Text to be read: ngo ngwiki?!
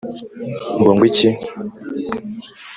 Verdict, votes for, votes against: accepted, 2, 1